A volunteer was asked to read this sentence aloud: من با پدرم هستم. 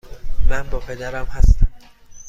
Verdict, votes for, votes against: accepted, 2, 0